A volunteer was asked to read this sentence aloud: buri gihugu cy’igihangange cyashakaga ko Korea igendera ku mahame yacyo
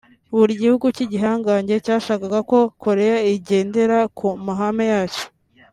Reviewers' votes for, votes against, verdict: 2, 0, accepted